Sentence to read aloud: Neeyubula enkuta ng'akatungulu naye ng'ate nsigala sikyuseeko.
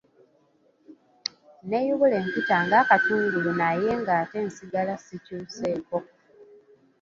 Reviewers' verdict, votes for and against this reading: accepted, 3, 0